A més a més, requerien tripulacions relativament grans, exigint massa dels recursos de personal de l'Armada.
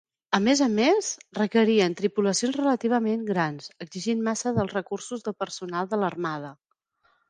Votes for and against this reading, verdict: 3, 0, accepted